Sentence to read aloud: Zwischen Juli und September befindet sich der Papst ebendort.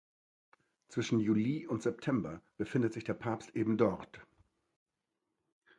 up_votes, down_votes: 2, 0